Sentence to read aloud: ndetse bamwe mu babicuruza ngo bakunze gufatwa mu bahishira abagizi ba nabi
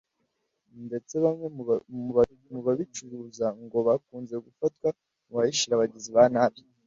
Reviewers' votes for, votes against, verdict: 1, 2, rejected